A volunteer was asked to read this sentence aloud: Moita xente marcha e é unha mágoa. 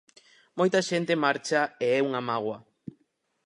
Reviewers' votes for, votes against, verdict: 4, 0, accepted